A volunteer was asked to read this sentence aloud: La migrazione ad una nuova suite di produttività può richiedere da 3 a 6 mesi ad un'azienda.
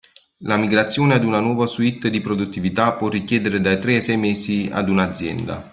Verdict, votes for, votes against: rejected, 0, 2